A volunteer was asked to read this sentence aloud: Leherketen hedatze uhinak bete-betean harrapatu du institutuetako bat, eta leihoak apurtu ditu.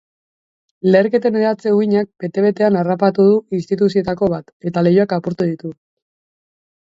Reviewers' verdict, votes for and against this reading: rejected, 1, 2